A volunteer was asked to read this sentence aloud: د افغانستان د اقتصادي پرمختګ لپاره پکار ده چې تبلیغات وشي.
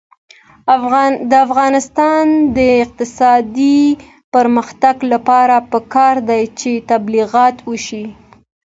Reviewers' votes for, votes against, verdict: 2, 0, accepted